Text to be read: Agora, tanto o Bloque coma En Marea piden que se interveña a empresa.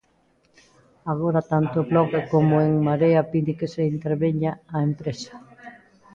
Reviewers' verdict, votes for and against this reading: accepted, 2, 1